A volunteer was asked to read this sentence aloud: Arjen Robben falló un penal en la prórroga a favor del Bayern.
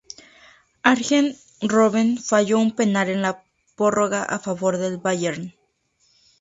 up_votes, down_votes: 0, 4